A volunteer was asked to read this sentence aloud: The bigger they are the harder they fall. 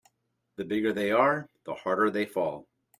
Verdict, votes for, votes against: accepted, 2, 0